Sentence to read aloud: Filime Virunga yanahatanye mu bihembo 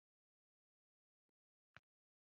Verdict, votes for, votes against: rejected, 1, 2